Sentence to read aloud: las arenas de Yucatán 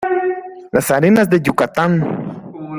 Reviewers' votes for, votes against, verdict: 2, 0, accepted